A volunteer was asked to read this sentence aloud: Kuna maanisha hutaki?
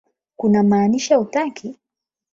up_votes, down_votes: 4, 8